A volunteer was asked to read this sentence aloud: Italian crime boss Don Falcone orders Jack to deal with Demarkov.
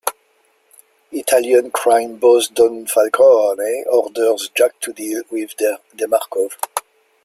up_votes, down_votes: 1, 2